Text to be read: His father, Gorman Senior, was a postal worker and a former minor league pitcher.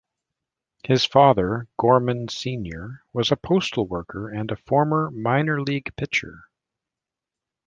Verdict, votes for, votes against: accepted, 2, 0